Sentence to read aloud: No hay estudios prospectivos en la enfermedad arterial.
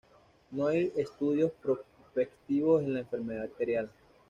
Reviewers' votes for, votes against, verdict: 2, 0, accepted